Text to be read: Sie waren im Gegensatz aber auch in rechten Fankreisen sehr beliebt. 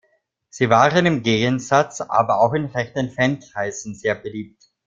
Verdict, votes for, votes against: accepted, 2, 0